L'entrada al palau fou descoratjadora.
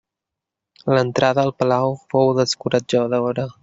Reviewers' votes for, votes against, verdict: 2, 1, accepted